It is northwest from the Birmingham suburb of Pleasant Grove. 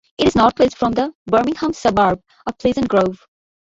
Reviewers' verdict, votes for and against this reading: accepted, 2, 1